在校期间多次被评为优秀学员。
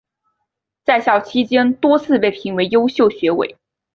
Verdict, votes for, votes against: rejected, 0, 2